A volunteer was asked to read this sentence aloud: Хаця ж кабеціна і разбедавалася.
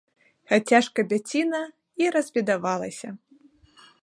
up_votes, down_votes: 4, 5